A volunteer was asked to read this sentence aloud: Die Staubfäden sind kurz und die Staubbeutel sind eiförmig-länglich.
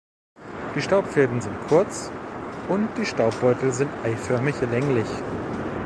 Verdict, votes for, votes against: rejected, 0, 2